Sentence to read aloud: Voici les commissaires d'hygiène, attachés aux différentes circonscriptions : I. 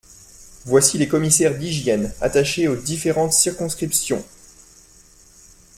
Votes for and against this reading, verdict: 2, 0, accepted